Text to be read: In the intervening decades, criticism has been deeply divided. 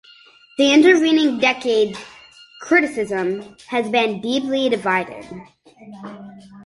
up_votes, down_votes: 2, 0